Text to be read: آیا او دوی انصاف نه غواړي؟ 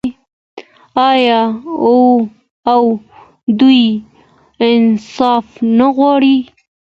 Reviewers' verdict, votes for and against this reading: accepted, 2, 1